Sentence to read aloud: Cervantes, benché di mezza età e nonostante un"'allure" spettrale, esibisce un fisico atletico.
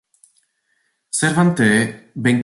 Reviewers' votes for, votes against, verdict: 0, 2, rejected